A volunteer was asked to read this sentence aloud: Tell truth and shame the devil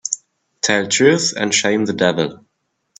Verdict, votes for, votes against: accepted, 2, 0